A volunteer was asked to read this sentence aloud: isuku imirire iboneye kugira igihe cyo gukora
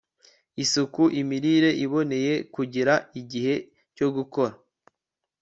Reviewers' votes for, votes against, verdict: 1, 2, rejected